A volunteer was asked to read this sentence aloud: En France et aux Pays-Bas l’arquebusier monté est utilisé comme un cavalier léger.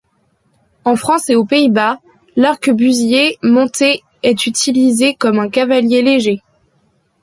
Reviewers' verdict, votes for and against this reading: accepted, 2, 0